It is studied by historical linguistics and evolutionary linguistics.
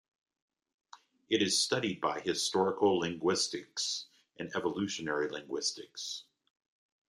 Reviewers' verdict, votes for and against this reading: rejected, 0, 2